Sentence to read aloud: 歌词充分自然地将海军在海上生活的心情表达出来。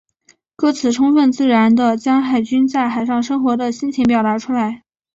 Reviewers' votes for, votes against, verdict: 2, 0, accepted